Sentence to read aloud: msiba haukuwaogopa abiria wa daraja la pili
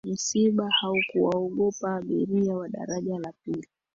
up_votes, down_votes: 2, 0